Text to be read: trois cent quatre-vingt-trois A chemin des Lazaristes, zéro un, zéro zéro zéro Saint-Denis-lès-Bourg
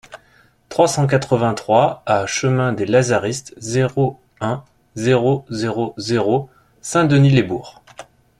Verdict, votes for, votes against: accepted, 2, 0